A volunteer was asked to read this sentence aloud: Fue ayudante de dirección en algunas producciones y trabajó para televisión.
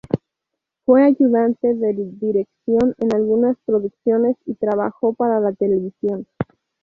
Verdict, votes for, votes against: accepted, 2, 0